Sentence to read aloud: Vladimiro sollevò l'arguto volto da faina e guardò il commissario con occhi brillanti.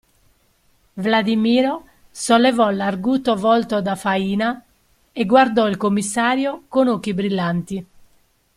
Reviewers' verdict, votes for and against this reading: accepted, 2, 0